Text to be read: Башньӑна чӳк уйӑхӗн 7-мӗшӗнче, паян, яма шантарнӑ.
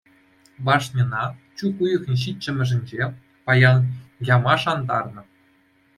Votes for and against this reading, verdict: 0, 2, rejected